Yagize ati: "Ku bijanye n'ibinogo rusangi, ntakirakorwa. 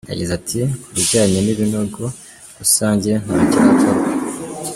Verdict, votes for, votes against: accepted, 2, 1